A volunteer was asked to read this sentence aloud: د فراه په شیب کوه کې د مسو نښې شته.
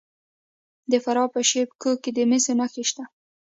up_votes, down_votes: 2, 0